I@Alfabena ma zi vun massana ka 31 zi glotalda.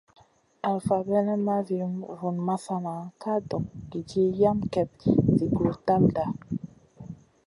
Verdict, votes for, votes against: rejected, 0, 2